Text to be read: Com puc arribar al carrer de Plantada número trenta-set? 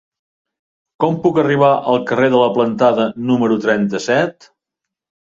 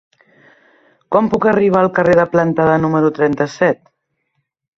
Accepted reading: second